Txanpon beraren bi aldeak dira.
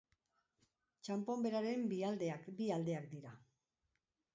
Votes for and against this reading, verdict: 0, 2, rejected